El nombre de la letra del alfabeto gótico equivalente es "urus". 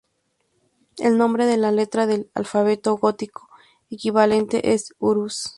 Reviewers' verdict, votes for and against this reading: accepted, 2, 0